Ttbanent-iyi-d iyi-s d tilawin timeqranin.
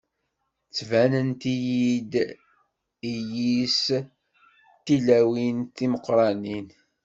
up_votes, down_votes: 0, 2